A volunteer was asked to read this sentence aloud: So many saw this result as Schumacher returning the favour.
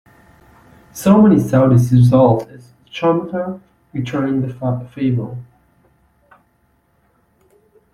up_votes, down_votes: 0, 2